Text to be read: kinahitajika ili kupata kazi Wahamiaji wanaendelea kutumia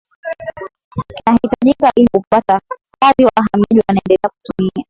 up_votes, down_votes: 0, 2